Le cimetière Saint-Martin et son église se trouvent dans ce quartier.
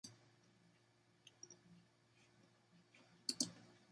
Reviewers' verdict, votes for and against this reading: rejected, 0, 2